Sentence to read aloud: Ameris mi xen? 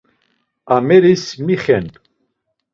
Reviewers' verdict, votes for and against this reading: accepted, 2, 0